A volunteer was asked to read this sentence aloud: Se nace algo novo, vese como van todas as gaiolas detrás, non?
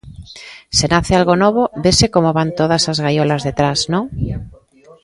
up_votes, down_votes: 2, 0